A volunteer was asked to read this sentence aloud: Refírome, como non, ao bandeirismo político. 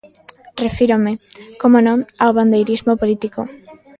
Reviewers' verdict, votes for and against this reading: accepted, 2, 1